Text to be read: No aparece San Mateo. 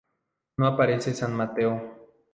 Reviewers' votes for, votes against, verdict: 2, 0, accepted